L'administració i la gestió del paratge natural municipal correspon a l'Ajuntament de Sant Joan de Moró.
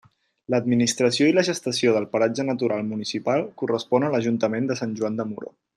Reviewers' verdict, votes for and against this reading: rejected, 0, 4